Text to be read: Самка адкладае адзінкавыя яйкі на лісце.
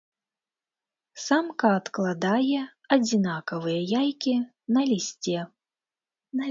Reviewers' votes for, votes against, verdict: 0, 2, rejected